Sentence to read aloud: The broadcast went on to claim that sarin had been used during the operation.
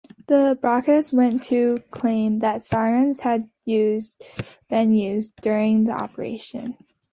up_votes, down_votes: 0, 2